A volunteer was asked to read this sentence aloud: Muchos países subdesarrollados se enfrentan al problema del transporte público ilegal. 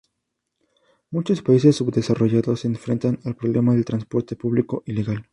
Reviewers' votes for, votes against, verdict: 0, 2, rejected